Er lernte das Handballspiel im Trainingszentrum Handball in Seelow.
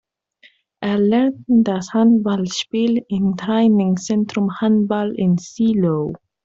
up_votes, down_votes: 0, 2